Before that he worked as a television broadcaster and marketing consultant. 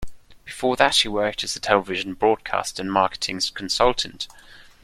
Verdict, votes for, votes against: rejected, 1, 2